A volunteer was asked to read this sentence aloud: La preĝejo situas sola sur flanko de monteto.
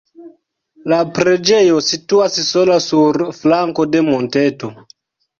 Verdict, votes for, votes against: accepted, 2, 0